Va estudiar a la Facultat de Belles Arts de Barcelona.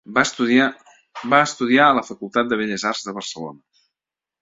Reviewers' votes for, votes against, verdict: 0, 2, rejected